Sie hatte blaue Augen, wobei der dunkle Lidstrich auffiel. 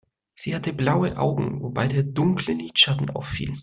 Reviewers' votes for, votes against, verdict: 0, 2, rejected